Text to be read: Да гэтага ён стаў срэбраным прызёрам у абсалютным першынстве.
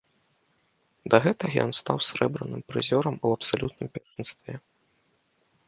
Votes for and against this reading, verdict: 1, 2, rejected